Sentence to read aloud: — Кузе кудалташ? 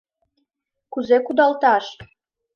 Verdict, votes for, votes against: accepted, 2, 0